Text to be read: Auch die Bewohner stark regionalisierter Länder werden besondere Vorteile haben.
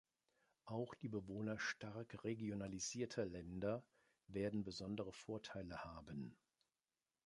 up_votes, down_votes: 2, 0